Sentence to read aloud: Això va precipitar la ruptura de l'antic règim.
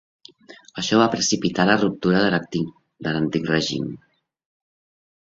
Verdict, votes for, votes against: rejected, 1, 2